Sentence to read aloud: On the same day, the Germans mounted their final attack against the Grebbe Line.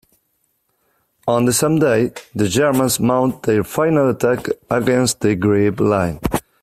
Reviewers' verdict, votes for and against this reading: accepted, 2, 0